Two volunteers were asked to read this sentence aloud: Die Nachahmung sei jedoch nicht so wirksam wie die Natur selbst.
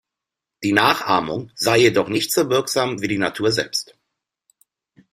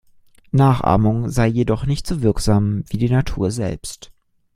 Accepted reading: first